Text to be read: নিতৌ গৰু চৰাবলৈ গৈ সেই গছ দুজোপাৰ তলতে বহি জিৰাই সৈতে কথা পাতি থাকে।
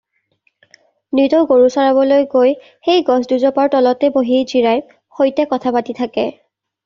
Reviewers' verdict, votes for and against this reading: accepted, 2, 0